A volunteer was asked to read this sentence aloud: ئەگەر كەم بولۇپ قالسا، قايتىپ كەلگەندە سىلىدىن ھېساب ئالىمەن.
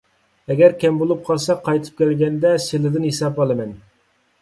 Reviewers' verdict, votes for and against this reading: accepted, 2, 0